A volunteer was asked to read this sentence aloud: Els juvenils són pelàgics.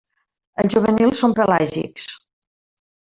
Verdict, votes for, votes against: rejected, 0, 2